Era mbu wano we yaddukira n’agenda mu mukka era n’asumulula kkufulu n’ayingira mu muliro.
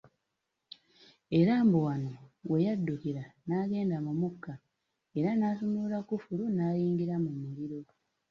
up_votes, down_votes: 2, 0